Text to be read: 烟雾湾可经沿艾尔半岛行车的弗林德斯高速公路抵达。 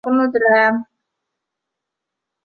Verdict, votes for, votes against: rejected, 0, 2